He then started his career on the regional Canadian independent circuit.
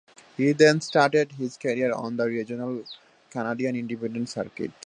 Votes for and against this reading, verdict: 0, 2, rejected